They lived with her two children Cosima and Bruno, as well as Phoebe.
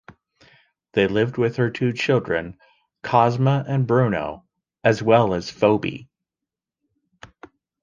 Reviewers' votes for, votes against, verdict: 2, 1, accepted